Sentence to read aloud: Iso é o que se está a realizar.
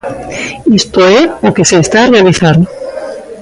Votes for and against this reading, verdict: 0, 2, rejected